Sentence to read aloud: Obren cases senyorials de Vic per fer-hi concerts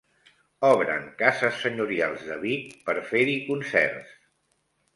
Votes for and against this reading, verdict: 2, 0, accepted